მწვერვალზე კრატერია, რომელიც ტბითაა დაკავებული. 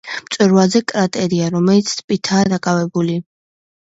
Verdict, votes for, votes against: accepted, 2, 1